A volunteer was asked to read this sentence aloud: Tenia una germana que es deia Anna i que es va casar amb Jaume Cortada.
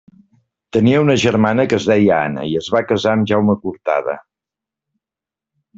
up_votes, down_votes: 1, 2